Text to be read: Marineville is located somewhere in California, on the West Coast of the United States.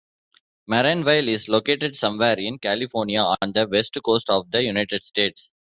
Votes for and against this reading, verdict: 2, 1, accepted